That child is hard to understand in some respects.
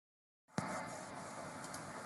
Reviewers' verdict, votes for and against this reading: rejected, 0, 2